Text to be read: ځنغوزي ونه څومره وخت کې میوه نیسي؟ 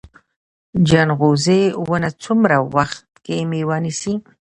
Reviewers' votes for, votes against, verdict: 1, 2, rejected